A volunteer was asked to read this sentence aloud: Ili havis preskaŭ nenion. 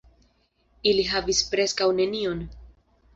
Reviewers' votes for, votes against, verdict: 0, 2, rejected